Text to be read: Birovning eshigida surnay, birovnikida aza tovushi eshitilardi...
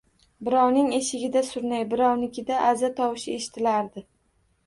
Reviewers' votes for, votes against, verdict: 2, 0, accepted